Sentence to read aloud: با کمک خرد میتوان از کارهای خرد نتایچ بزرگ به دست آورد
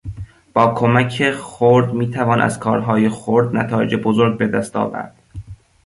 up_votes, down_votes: 1, 2